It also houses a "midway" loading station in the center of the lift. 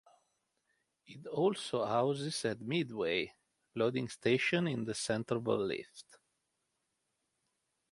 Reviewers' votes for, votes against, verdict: 2, 0, accepted